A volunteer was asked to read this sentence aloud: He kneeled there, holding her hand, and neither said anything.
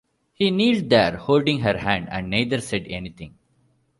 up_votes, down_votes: 2, 0